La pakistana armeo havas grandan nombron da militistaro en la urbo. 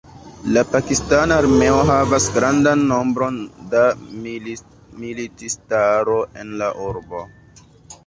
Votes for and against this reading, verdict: 1, 2, rejected